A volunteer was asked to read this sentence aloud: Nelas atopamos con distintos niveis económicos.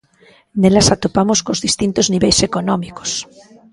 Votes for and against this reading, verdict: 1, 2, rejected